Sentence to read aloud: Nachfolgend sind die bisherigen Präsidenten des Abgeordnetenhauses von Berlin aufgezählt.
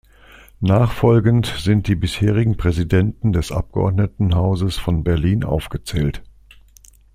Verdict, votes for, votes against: accepted, 2, 0